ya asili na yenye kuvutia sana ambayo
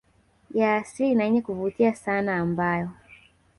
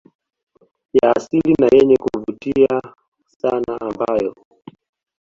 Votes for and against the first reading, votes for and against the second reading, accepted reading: 1, 2, 2, 0, second